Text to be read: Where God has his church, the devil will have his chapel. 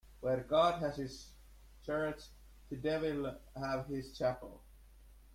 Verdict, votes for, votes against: rejected, 1, 2